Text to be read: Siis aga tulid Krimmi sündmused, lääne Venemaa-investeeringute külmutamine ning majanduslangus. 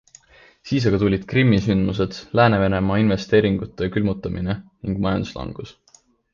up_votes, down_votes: 2, 0